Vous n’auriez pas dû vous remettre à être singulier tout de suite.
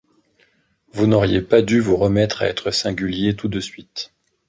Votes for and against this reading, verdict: 2, 0, accepted